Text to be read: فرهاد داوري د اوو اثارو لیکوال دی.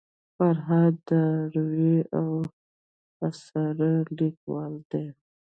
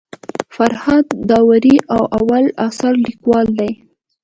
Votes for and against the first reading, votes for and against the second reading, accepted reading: 0, 2, 3, 0, second